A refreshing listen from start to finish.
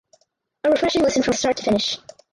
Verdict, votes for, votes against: rejected, 0, 4